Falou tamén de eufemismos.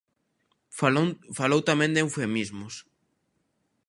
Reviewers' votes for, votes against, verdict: 0, 2, rejected